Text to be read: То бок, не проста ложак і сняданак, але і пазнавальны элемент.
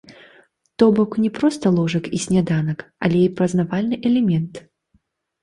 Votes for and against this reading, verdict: 2, 0, accepted